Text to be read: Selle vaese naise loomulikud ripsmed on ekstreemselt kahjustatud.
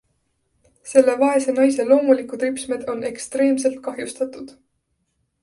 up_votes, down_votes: 2, 0